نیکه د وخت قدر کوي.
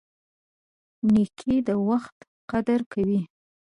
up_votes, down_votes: 1, 2